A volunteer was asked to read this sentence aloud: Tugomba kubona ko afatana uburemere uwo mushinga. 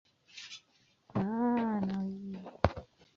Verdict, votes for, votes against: rejected, 0, 2